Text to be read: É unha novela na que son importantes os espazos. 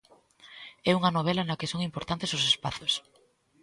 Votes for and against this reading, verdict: 2, 0, accepted